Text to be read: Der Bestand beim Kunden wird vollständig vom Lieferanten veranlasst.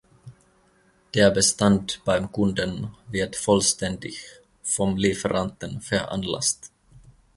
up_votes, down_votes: 2, 0